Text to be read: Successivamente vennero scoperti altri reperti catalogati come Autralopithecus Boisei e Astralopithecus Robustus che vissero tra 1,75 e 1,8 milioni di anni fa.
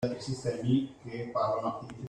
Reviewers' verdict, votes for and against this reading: rejected, 0, 2